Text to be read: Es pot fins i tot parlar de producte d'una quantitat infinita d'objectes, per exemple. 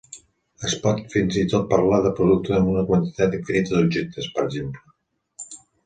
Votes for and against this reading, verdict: 0, 2, rejected